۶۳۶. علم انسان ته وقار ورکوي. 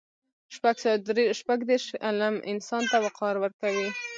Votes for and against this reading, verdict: 0, 2, rejected